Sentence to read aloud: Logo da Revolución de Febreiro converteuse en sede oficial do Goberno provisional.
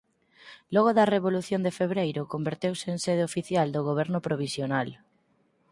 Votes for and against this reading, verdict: 4, 0, accepted